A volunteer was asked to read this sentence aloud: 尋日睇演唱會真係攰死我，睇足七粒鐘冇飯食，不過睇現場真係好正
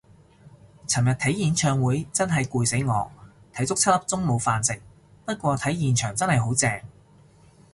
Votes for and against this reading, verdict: 2, 0, accepted